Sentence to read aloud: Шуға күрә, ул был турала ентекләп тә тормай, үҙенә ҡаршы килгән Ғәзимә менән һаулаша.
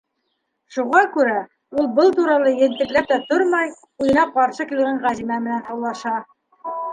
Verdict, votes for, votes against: rejected, 1, 2